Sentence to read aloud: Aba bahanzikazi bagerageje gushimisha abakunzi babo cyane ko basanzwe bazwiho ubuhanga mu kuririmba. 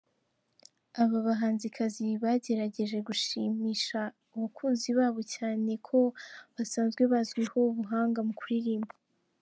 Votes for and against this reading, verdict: 1, 2, rejected